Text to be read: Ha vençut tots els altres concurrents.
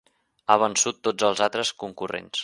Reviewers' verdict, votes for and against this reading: accepted, 3, 0